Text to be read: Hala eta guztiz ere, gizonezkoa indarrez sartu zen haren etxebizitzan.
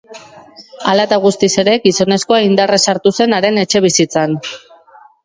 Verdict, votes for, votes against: accepted, 2, 0